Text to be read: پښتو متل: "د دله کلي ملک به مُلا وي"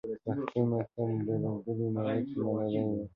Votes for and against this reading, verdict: 2, 0, accepted